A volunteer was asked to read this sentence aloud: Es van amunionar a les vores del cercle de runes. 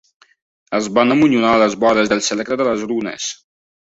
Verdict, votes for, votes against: rejected, 1, 2